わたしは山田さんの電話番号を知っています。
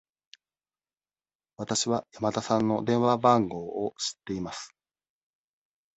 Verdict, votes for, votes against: accepted, 2, 1